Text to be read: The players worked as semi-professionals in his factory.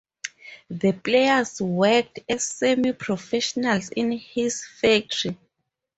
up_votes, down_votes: 2, 2